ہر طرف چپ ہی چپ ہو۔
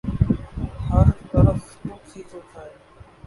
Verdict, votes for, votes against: rejected, 1, 3